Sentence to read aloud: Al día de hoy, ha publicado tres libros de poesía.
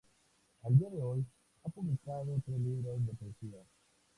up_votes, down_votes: 2, 2